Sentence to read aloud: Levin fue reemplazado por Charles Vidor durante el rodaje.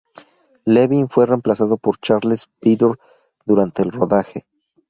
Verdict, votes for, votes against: rejected, 0, 2